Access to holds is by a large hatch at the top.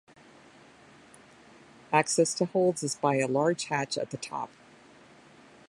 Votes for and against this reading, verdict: 2, 0, accepted